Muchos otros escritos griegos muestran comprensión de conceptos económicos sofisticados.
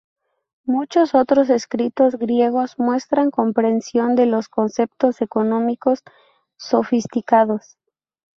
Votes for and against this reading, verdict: 0, 2, rejected